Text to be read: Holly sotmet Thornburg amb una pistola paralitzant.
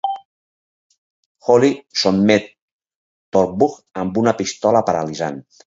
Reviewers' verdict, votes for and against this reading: rejected, 2, 4